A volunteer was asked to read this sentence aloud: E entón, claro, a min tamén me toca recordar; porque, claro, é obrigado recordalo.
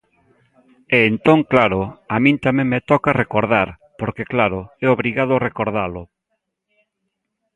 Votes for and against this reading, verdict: 2, 0, accepted